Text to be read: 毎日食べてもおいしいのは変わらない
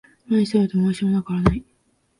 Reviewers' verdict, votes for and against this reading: rejected, 0, 2